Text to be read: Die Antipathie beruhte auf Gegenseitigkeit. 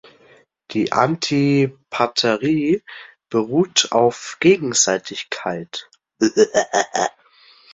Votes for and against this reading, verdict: 0, 2, rejected